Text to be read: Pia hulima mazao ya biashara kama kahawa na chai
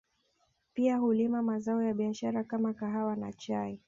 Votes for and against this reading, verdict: 1, 2, rejected